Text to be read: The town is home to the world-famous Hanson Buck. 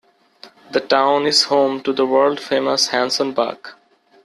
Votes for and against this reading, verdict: 2, 1, accepted